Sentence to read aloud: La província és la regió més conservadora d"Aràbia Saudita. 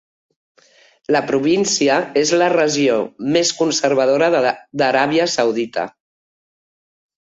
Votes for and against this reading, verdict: 1, 3, rejected